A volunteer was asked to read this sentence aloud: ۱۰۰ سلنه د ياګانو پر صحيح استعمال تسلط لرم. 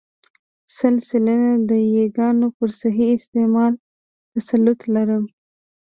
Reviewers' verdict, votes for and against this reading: rejected, 0, 2